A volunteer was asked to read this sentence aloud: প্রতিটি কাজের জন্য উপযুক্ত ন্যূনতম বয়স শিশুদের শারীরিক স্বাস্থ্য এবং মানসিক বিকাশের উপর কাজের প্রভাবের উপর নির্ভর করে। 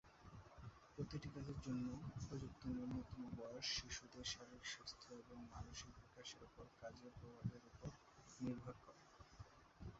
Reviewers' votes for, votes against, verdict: 0, 2, rejected